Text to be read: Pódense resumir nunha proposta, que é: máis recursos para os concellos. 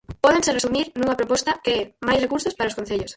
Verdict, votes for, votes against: rejected, 0, 4